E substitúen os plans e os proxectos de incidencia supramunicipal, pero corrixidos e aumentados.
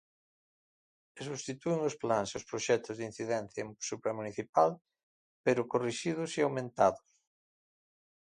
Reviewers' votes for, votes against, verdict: 2, 4, rejected